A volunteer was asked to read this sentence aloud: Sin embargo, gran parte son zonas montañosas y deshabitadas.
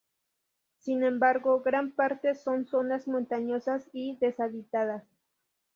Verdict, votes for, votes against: accepted, 2, 0